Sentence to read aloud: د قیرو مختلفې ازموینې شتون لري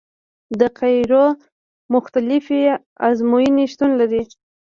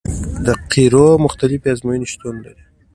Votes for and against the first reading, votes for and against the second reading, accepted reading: 0, 2, 2, 0, second